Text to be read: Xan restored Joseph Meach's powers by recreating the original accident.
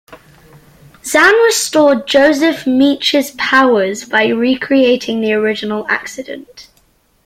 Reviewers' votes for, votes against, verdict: 2, 0, accepted